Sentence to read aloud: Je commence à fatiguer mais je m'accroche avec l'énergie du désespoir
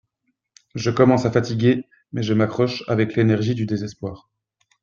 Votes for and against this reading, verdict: 2, 0, accepted